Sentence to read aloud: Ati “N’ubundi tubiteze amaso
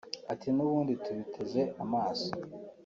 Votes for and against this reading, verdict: 2, 0, accepted